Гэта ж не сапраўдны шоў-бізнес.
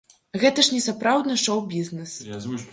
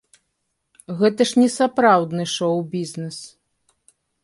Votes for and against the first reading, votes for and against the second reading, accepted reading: 1, 2, 2, 0, second